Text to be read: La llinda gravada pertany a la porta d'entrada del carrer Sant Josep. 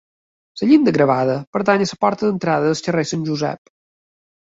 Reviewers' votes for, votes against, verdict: 1, 2, rejected